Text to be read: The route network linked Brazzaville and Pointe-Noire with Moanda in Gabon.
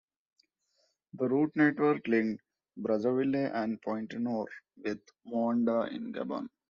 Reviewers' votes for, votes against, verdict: 0, 2, rejected